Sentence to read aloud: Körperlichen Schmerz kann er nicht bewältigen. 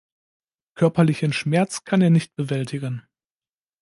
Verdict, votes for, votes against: accepted, 3, 0